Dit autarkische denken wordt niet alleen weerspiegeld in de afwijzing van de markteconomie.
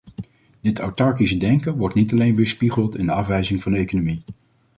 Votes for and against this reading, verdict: 0, 2, rejected